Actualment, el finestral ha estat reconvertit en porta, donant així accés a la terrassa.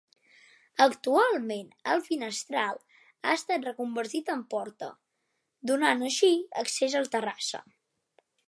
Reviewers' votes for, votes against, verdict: 0, 2, rejected